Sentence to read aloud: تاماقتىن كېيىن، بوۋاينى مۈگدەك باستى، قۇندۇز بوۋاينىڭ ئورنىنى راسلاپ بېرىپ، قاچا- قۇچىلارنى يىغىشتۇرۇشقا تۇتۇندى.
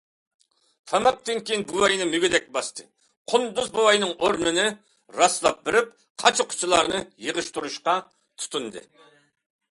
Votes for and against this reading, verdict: 2, 0, accepted